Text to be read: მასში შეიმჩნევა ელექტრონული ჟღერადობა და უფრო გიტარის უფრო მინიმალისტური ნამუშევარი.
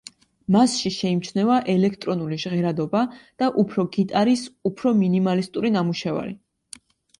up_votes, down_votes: 2, 0